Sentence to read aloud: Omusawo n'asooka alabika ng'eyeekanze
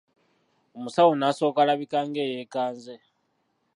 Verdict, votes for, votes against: rejected, 0, 2